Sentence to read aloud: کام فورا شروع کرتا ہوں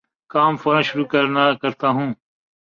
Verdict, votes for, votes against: rejected, 0, 2